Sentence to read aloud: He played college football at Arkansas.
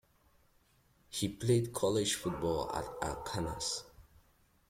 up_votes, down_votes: 1, 2